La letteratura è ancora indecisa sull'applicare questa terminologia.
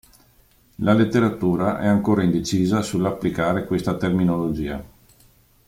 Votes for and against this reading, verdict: 2, 0, accepted